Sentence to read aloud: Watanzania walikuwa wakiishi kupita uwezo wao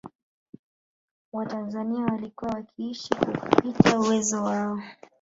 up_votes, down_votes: 1, 2